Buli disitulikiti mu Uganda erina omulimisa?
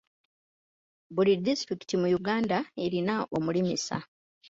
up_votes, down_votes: 1, 2